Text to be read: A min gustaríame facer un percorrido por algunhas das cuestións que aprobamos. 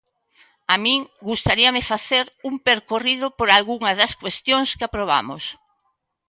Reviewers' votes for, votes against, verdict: 1, 2, rejected